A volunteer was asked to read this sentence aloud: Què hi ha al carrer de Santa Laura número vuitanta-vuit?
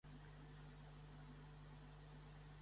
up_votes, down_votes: 0, 3